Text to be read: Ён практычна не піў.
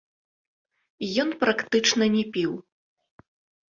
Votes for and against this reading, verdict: 1, 2, rejected